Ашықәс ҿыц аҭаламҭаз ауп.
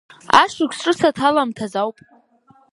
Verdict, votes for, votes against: accepted, 3, 0